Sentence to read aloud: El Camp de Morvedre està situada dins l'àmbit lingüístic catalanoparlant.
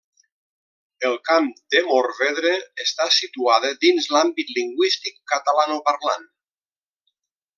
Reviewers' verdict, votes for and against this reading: accepted, 2, 0